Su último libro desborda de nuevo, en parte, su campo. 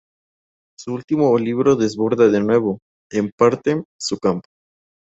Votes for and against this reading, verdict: 8, 2, accepted